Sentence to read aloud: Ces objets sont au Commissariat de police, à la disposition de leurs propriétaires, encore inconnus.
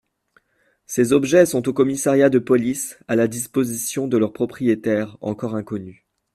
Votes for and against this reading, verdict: 2, 0, accepted